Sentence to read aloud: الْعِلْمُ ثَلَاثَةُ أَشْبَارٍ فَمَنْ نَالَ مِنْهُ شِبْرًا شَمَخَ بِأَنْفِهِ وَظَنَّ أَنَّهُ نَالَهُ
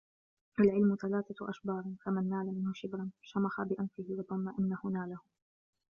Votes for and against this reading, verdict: 1, 2, rejected